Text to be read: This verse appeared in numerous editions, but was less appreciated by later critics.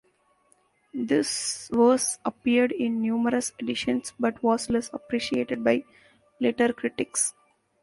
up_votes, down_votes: 2, 0